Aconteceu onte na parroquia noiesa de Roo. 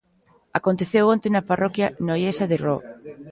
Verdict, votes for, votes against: accepted, 2, 0